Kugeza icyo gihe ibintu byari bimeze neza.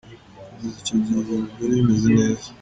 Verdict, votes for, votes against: accepted, 2, 0